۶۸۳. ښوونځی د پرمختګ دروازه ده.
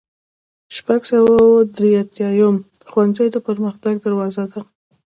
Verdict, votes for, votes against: rejected, 0, 2